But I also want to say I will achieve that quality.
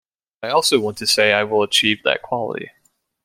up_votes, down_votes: 1, 2